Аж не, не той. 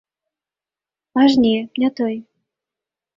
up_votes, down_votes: 2, 0